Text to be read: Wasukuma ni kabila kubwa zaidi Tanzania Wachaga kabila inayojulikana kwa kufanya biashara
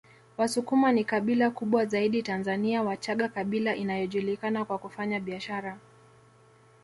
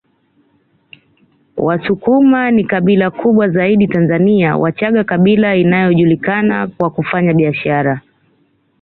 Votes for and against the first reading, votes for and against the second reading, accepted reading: 1, 2, 2, 1, second